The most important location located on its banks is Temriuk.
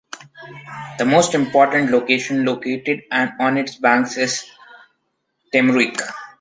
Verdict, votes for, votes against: rejected, 0, 2